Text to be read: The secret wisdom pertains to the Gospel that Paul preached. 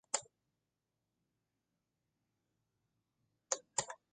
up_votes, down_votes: 0, 2